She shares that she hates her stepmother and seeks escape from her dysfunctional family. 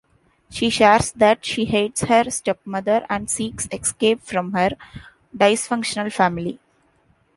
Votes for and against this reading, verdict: 2, 0, accepted